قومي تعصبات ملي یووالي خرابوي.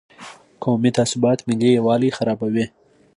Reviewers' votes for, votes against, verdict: 2, 0, accepted